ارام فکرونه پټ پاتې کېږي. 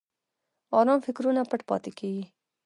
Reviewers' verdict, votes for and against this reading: rejected, 0, 2